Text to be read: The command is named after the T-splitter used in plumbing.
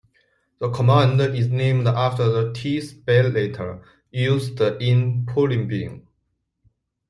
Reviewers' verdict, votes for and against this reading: rejected, 1, 2